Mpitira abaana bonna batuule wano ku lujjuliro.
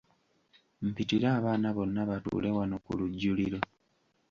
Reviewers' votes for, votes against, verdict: 2, 0, accepted